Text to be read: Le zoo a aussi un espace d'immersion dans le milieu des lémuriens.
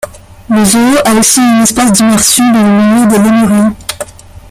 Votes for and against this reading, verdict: 0, 2, rejected